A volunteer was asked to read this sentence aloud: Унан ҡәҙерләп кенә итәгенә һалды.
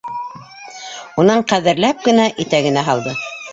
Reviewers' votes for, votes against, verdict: 0, 2, rejected